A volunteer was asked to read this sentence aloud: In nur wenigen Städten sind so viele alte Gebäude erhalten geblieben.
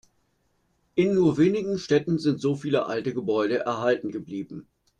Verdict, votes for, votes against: accepted, 2, 0